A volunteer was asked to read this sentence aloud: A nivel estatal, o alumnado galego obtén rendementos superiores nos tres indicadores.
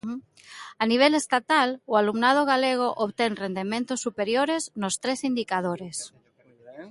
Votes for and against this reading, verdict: 1, 2, rejected